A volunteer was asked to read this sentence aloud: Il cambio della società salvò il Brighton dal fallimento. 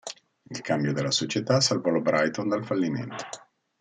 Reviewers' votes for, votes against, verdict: 2, 1, accepted